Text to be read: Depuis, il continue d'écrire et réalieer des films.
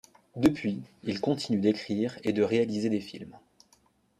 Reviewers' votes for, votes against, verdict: 1, 2, rejected